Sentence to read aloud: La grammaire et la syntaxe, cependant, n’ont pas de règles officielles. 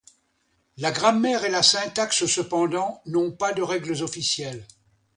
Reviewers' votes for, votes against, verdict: 2, 0, accepted